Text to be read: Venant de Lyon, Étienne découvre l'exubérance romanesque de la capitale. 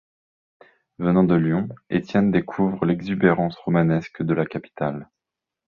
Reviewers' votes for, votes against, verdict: 3, 0, accepted